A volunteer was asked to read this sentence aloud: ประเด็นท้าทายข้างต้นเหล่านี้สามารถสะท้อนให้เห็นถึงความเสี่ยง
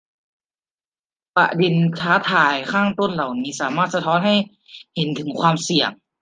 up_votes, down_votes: 1, 2